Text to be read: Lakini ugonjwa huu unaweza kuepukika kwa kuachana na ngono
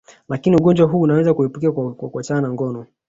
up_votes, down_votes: 3, 1